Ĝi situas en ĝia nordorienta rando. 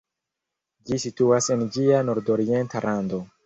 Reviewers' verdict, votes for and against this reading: rejected, 1, 2